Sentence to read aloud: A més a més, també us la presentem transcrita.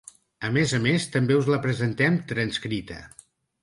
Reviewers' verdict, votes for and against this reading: accepted, 4, 0